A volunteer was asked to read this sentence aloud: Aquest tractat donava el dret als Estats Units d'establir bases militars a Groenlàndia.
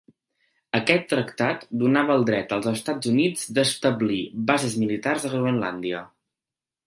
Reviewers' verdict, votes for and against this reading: accepted, 2, 0